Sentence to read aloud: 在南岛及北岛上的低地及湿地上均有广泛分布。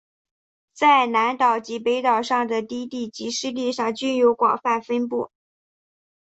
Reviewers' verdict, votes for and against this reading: accepted, 7, 0